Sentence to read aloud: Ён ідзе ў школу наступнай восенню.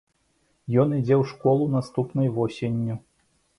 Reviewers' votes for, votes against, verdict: 2, 0, accepted